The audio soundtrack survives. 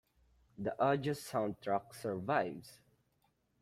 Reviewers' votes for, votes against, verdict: 2, 1, accepted